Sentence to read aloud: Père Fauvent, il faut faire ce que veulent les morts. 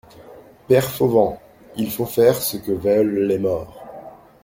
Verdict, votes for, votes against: accepted, 2, 0